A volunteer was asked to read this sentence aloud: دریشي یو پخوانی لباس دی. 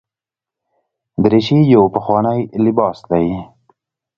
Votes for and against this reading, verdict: 2, 0, accepted